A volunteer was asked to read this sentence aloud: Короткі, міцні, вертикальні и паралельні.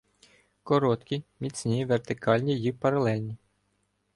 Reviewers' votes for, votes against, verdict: 2, 0, accepted